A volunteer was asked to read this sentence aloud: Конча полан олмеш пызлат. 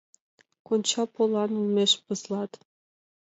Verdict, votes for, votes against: accepted, 2, 0